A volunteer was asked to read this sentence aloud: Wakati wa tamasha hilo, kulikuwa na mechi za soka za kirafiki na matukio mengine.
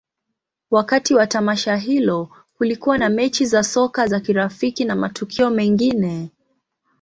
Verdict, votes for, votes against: accepted, 2, 0